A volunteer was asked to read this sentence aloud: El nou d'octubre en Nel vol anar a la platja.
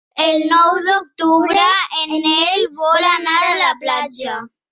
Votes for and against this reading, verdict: 0, 2, rejected